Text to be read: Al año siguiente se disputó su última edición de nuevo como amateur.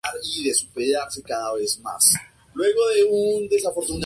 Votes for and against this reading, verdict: 0, 2, rejected